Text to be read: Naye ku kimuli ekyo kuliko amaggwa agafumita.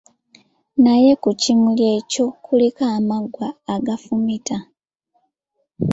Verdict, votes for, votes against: accepted, 2, 1